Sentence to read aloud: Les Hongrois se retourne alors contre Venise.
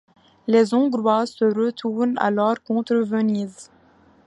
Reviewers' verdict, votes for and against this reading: accepted, 2, 1